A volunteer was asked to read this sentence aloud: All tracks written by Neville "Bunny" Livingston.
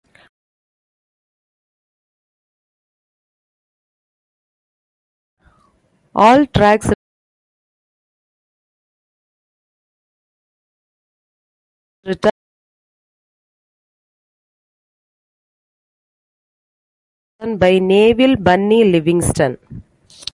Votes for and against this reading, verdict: 0, 2, rejected